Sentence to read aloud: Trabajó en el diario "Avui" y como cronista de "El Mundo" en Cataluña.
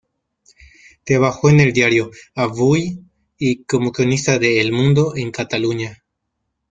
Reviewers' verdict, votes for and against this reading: rejected, 1, 2